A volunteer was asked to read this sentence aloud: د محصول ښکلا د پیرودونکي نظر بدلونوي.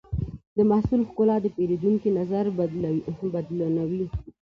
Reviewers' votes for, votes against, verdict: 2, 1, accepted